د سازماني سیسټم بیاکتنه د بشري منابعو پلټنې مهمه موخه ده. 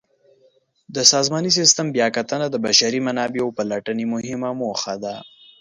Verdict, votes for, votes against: accepted, 2, 0